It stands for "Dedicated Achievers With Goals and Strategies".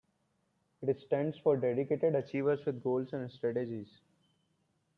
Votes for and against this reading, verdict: 2, 0, accepted